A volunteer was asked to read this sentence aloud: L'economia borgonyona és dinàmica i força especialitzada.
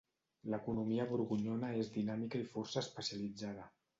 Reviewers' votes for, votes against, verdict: 2, 0, accepted